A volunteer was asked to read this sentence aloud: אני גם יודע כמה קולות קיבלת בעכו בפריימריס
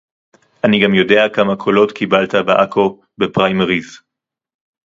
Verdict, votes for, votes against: rejected, 2, 2